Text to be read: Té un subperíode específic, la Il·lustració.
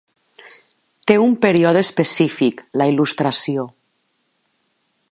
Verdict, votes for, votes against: rejected, 1, 2